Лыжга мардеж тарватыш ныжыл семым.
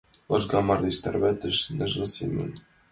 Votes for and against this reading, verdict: 2, 1, accepted